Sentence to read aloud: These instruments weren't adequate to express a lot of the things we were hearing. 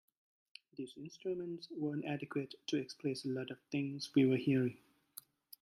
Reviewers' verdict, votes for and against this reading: accepted, 2, 1